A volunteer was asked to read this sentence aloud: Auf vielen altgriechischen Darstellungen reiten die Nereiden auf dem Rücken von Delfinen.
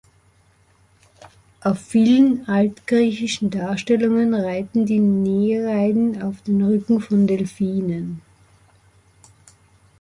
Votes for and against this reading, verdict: 1, 2, rejected